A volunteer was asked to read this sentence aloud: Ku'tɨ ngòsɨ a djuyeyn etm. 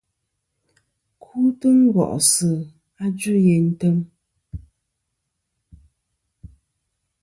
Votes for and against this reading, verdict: 1, 2, rejected